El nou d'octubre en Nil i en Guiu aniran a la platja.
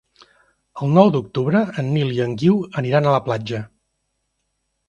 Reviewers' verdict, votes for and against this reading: accepted, 2, 0